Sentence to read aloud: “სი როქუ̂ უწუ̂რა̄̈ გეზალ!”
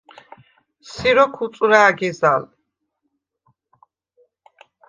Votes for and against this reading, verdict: 2, 0, accepted